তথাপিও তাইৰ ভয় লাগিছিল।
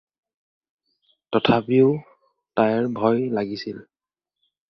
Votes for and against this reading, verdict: 4, 0, accepted